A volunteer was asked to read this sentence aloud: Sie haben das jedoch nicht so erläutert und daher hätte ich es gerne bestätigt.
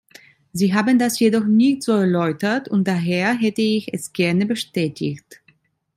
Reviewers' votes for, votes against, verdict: 2, 0, accepted